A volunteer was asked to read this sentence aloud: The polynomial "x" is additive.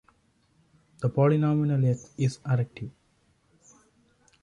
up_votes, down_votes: 2, 0